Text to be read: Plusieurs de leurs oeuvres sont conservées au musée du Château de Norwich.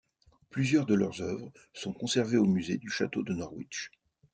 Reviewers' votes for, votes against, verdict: 2, 0, accepted